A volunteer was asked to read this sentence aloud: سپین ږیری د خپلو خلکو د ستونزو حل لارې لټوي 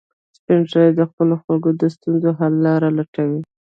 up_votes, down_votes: 1, 2